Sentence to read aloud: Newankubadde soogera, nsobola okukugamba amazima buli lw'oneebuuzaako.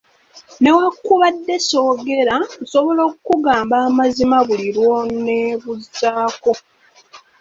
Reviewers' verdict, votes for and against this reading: rejected, 1, 2